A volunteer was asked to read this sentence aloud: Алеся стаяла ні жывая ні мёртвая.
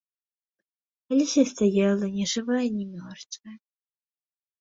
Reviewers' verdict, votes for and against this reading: accepted, 2, 0